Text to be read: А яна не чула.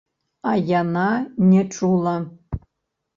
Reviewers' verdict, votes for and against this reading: rejected, 0, 2